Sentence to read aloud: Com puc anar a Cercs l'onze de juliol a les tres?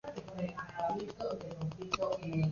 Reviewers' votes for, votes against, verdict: 0, 2, rejected